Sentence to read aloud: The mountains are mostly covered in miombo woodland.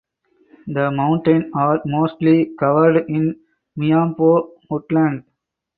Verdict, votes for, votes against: accepted, 4, 0